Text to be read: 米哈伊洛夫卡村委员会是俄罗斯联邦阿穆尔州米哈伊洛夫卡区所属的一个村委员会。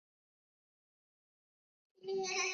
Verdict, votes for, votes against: rejected, 0, 2